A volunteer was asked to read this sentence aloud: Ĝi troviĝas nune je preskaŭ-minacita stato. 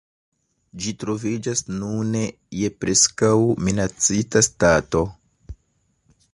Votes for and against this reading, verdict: 2, 0, accepted